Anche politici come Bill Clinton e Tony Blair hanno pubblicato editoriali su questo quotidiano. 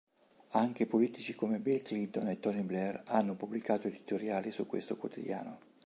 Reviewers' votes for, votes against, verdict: 2, 0, accepted